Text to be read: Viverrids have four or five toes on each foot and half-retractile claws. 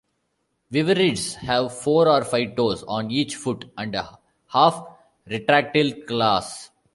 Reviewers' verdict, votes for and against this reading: rejected, 1, 2